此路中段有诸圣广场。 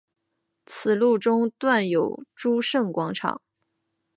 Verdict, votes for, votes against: accepted, 2, 0